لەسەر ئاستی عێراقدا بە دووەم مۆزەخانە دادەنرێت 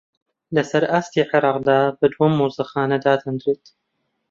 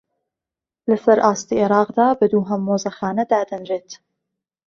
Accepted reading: first